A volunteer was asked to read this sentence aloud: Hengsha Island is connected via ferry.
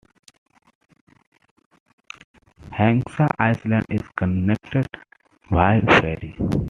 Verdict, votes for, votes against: rejected, 1, 2